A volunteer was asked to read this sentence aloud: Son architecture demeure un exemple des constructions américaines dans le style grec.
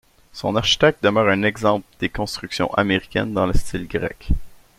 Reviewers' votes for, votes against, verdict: 0, 2, rejected